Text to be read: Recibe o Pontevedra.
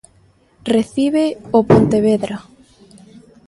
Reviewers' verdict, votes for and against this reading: rejected, 1, 2